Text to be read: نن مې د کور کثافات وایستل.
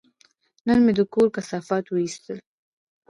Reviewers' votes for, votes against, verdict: 2, 0, accepted